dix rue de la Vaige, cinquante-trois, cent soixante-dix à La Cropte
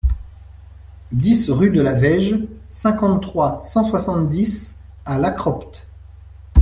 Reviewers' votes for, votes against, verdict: 2, 0, accepted